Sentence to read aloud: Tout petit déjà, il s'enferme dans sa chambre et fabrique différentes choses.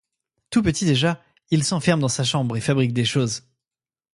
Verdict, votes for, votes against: rejected, 1, 2